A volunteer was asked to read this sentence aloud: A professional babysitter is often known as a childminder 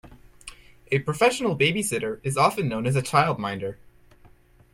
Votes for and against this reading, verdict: 2, 0, accepted